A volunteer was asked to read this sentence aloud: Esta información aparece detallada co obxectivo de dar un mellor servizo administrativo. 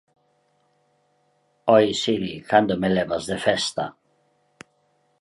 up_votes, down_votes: 0, 2